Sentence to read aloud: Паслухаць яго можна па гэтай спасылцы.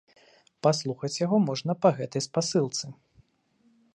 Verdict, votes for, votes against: accepted, 2, 0